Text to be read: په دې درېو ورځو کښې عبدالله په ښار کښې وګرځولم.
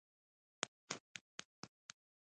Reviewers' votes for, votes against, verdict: 0, 2, rejected